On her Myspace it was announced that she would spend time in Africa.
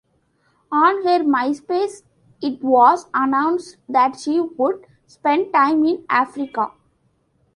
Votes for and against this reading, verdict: 2, 0, accepted